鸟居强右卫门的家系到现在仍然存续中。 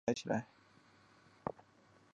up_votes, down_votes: 1, 2